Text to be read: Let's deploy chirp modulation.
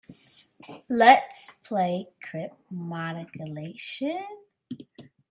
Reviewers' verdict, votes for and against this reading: rejected, 0, 2